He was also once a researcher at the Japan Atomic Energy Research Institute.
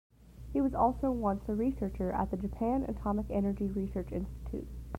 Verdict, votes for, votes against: accepted, 2, 0